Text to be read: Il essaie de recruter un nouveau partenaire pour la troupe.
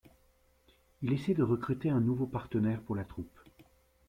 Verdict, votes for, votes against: rejected, 1, 2